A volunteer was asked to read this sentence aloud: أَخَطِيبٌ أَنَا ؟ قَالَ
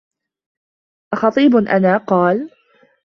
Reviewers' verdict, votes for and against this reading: accepted, 2, 0